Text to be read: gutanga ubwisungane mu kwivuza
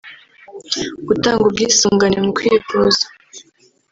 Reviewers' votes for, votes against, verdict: 1, 2, rejected